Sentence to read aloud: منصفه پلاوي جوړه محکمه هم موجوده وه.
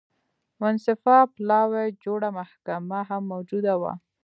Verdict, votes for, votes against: accepted, 2, 0